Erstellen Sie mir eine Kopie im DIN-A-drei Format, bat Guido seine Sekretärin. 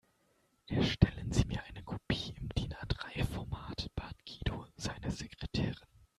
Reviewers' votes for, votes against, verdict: 1, 2, rejected